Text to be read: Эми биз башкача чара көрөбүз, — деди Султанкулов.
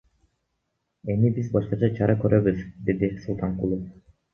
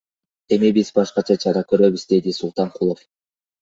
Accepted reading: second